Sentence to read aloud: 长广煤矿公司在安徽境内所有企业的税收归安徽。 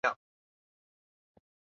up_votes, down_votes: 2, 0